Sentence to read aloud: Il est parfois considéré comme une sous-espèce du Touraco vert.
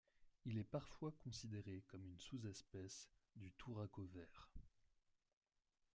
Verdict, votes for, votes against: rejected, 1, 2